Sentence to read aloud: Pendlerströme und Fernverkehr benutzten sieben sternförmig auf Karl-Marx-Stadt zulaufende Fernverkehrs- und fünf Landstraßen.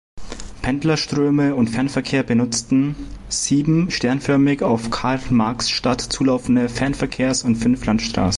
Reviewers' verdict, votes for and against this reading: rejected, 0, 2